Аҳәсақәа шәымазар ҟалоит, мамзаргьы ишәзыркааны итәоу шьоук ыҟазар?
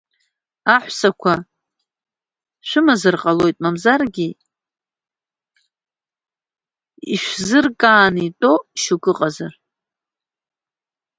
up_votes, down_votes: 0, 2